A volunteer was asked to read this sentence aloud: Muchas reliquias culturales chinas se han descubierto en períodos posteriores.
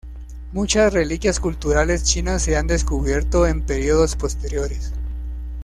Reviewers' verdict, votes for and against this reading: accepted, 2, 0